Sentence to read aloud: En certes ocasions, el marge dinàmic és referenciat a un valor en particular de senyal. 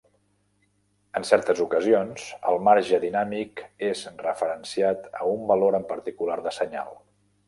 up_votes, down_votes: 0, 2